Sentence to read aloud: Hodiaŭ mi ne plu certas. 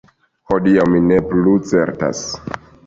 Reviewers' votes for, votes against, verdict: 2, 0, accepted